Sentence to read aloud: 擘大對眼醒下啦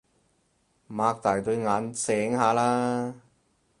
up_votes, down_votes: 4, 0